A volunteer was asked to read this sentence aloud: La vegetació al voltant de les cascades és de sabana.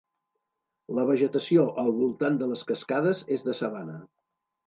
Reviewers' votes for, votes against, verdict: 2, 0, accepted